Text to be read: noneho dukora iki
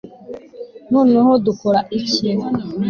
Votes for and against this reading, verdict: 2, 0, accepted